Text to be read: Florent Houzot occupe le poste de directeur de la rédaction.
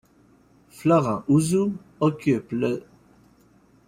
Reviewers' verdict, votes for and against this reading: rejected, 1, 2